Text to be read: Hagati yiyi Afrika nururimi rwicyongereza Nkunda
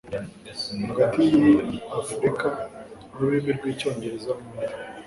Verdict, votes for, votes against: rejected, 0, 2